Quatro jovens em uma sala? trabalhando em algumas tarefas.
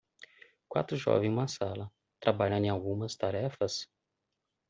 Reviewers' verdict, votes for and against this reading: rejected, 1, 2